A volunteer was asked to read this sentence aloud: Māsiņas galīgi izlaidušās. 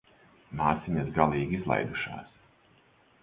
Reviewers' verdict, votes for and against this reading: accepted, 4, 0